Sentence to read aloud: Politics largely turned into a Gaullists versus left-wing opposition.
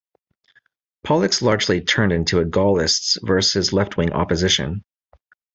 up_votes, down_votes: 1, 2